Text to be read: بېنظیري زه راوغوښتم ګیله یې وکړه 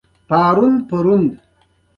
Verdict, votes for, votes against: accepted, 2, 1